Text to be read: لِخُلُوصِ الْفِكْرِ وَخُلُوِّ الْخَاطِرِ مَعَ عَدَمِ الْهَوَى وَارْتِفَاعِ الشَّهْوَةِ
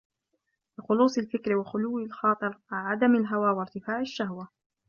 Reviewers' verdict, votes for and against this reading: rejected, 1, 2